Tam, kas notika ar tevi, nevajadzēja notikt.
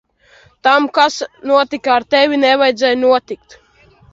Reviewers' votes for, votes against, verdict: 0, 2, rejected